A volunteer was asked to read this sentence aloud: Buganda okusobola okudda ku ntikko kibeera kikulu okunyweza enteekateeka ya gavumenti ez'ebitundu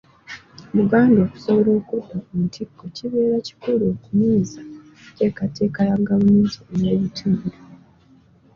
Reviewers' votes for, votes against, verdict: 0, 2, rejected